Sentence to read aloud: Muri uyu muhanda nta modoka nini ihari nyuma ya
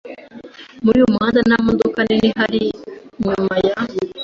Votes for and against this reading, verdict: 2, 0, accepted